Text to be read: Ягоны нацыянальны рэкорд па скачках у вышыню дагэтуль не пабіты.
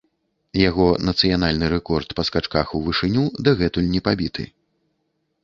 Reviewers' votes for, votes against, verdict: 0, 2, rejected